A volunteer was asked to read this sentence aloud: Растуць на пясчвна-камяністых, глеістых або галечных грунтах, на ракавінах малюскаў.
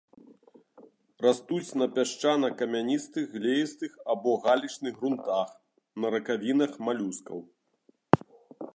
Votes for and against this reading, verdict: 2, 1, accepted